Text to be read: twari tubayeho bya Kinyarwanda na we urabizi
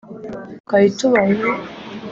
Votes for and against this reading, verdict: 0, 3, rejected